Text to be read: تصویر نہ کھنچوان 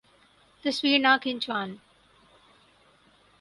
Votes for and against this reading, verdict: 2, 4, rejected